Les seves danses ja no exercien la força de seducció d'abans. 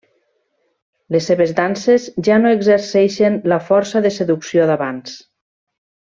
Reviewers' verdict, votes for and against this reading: rejected, 0, 2